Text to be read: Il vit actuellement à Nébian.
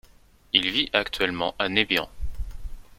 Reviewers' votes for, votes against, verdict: 2, 0, accepted